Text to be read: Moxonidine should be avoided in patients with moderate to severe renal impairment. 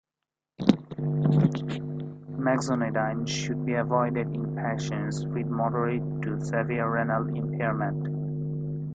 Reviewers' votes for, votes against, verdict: 1, 2, rejected